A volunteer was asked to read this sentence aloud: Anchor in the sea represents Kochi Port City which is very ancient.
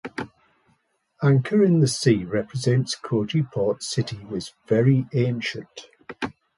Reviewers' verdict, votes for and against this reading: rejected, 1, 2